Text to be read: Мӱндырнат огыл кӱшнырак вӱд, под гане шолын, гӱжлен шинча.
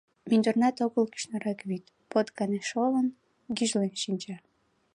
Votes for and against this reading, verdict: 2, 0, accepted